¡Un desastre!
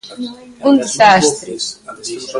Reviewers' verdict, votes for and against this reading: rejected, 0, 3